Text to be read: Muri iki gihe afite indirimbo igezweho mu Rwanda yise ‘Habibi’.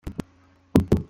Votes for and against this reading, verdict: 0, 2, rejected